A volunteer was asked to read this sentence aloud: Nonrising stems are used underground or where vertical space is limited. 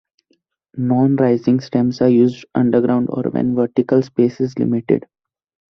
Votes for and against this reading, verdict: 1, 2, rejected